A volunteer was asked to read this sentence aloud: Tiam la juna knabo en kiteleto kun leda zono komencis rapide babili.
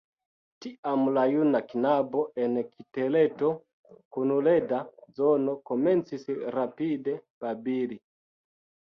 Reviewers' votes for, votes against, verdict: 3, 1, accepted